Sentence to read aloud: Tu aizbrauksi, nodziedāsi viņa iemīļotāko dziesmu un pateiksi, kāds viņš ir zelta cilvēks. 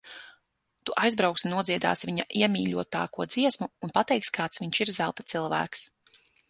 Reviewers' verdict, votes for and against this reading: accepted, 6, 0